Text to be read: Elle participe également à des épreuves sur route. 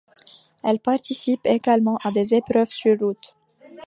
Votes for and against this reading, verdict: 2, 0, accepted